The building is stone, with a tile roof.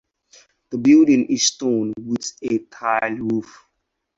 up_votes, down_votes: 4, 2